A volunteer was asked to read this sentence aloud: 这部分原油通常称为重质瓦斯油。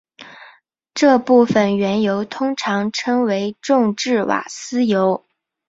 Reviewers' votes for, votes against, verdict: 1, 2, rejected